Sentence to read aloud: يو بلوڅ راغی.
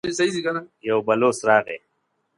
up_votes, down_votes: 0, 2